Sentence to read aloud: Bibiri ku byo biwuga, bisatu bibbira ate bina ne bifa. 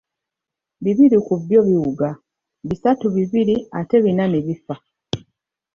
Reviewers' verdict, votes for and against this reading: rejected, 1, 2